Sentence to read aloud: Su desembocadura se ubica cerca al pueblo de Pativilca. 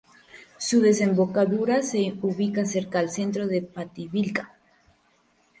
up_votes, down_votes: 0, 2